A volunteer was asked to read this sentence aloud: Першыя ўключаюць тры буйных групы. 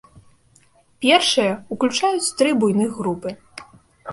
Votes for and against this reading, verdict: 2, 0, accepted